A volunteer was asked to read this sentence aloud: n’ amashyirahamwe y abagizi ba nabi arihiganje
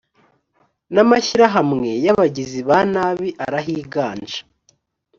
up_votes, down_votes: 2, 0